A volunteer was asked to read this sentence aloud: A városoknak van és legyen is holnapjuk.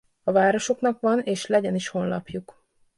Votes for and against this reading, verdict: 1, 2, rejected